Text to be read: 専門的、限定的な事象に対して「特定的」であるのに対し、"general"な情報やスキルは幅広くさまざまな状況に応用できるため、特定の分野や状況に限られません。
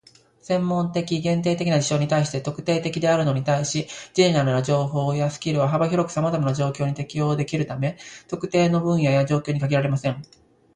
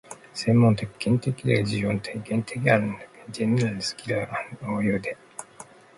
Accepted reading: first